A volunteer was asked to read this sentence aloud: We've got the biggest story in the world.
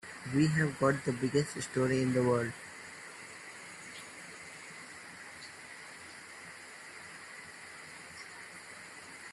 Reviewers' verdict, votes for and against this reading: rejected, 0, 2